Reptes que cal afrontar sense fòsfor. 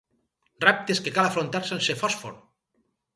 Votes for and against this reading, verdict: 4, 2, accepted